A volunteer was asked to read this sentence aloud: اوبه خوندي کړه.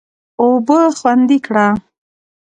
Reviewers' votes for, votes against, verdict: 2, 1, accepted